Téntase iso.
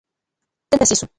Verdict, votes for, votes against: rejected, 0, 2